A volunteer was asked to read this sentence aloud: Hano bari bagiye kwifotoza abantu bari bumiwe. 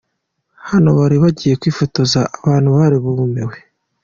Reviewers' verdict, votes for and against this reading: rejected, 0, 2